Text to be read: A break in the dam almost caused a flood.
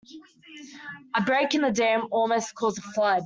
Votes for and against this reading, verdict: 2, 1, accepted